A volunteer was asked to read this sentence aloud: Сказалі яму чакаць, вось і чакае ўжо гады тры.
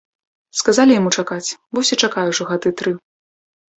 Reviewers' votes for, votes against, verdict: 2, 0, accepted